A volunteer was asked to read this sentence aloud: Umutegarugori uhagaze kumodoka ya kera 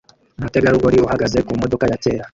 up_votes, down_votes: 1, 2